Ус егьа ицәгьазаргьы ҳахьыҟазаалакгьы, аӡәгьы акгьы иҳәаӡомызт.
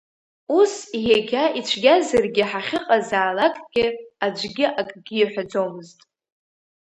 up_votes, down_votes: 2, 1